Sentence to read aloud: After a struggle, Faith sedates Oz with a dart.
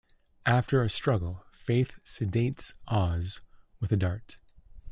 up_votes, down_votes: 2, 0